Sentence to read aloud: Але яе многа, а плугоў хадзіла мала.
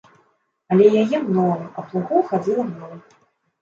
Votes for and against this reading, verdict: 1, 2, rejected